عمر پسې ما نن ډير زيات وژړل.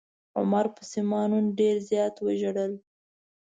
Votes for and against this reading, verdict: 2, 0, accepted